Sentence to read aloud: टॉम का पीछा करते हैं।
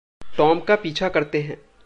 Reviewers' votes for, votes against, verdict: 2, 0, accepted